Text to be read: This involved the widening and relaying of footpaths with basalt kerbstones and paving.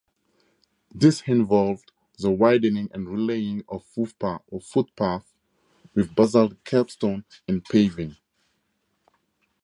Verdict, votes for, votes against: rejected, 2, 4